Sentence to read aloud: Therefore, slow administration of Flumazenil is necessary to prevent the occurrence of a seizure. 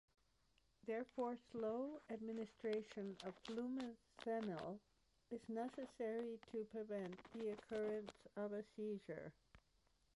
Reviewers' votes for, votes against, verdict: 2, 1, accepted